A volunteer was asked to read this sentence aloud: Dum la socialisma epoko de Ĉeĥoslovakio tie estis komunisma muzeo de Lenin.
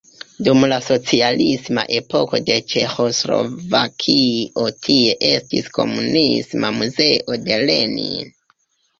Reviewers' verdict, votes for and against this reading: rejected, 0, 2